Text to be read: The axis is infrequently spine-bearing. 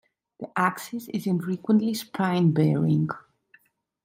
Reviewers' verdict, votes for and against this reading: accepted, 2, 0